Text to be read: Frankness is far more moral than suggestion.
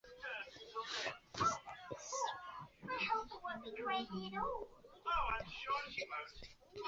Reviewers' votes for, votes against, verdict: 0, 2, rejected